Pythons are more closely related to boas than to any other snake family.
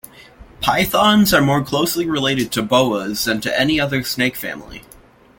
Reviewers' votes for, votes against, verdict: 2, 0, accepted